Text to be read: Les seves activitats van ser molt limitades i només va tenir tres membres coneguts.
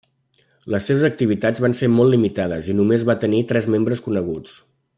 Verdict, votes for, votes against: accepted, 3, 0